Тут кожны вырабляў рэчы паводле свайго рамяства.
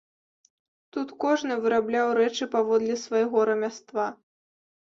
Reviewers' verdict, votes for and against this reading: accepted, 2, 0